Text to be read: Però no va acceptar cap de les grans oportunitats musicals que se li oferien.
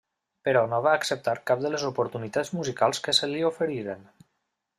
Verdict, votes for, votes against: rejected, 1, 2